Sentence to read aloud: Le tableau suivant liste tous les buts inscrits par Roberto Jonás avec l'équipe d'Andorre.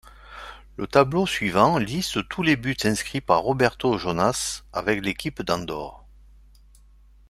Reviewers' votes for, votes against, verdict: 2, 0, accepted